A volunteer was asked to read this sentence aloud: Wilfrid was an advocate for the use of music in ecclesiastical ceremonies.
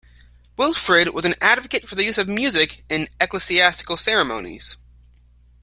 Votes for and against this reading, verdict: 2, 0, accepted